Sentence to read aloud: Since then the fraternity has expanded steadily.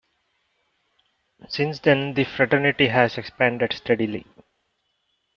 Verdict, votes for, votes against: accepted, 2, 0